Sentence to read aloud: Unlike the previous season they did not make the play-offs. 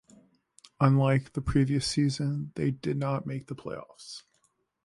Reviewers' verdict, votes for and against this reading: accepted, 2, 0